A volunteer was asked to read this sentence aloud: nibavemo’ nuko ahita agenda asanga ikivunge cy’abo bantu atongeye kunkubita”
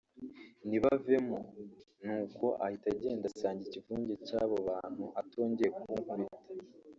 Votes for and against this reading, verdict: 1, 2, rejected